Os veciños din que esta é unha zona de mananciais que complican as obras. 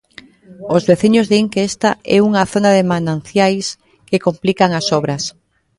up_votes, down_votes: 0, 2